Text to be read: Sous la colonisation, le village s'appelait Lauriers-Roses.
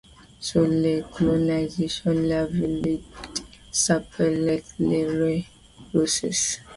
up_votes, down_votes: 1, 2